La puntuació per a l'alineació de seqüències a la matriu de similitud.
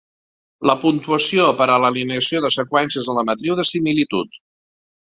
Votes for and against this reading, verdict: 2, 0, accepted